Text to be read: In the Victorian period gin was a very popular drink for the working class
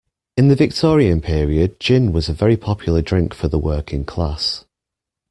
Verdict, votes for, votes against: accepted, 2, 0